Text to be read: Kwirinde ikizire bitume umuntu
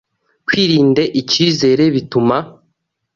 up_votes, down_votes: 0, 2